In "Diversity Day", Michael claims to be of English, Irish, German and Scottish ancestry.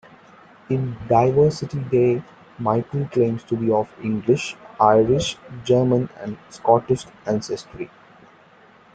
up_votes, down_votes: 2, 0